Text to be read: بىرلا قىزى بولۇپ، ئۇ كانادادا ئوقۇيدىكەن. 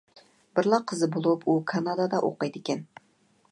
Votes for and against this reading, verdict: 2, 0, accepted